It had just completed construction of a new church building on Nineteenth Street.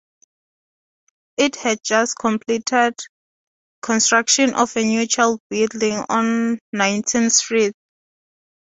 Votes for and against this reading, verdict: 0, 2, rejected